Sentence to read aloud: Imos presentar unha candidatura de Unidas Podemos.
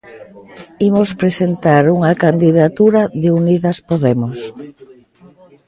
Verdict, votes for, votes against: accepted, 2, 0